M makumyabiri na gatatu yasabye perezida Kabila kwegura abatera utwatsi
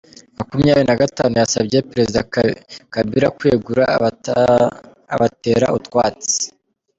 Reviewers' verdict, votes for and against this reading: rejected, 1, 2